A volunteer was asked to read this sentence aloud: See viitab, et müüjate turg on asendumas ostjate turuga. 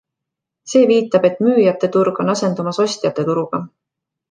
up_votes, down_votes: 2, 0